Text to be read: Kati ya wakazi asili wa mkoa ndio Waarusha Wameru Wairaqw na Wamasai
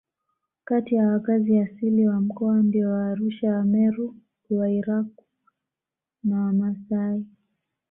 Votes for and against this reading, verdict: 2, 0, accepted